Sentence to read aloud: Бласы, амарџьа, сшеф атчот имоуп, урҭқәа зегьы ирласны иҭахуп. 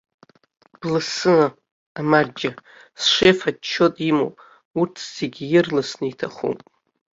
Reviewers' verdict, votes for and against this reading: rejected, 0, 2